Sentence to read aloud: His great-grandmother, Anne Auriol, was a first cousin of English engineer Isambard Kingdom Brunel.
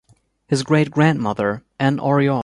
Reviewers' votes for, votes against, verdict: 0, 2, rejected